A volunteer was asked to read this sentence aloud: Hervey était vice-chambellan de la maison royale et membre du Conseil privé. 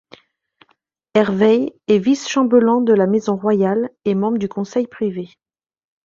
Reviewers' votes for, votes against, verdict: 0, 2, rejected